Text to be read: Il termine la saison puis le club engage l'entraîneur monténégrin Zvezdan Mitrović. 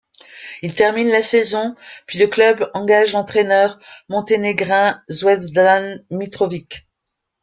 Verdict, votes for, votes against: accepted, 3, 0